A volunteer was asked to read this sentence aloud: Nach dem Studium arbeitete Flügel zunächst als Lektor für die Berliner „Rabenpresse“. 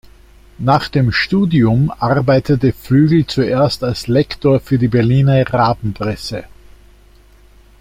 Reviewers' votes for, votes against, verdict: 1, 2, rejected